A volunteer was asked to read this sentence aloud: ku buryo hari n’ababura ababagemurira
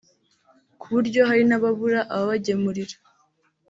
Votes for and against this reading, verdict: 3, 0, accepted